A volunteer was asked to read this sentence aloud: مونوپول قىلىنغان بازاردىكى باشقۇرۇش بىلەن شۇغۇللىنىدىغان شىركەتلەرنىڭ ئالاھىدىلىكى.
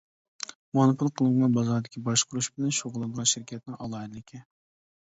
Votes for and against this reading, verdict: 1, 2, rejected